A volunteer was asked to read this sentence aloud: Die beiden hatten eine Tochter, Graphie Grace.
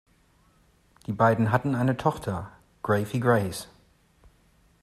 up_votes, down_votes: 2, 0